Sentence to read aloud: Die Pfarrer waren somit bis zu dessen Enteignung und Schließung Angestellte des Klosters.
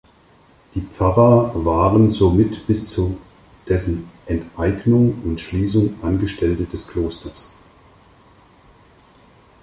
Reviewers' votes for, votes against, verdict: 0, 4, rejected